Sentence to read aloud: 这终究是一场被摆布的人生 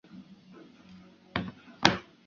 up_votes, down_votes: 0, 2